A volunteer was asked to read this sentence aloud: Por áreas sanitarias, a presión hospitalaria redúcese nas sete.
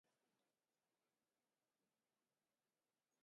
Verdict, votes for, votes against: rejected, 0, 6